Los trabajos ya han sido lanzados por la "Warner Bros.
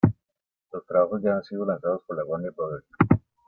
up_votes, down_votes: 1, 2